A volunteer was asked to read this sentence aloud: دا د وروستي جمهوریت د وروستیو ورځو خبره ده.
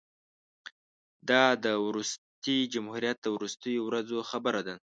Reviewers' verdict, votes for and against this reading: accepted, 2, 0